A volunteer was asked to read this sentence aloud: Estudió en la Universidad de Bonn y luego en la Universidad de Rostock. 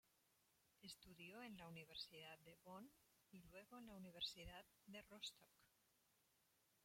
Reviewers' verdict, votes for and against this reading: rejected, 0, 3